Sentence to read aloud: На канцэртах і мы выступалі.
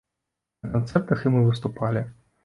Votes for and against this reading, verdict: 2, 0, accepted